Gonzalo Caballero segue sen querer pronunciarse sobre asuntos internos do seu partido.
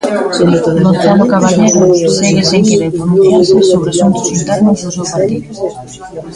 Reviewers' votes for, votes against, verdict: 0, 2, rejected